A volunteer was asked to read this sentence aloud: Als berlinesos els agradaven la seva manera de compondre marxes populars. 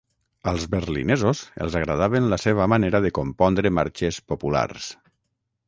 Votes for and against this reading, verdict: 3, 6, rejected